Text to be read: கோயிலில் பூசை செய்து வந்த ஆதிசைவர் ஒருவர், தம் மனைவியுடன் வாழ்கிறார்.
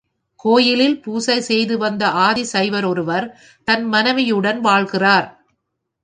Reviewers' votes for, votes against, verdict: 0, 3, rejected